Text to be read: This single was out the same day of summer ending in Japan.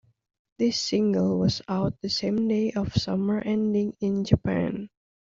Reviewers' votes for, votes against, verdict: 2, 0, accepted